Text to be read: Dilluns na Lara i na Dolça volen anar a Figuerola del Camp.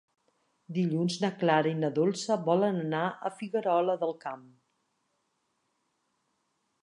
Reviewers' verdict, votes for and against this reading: rejected, 1, 2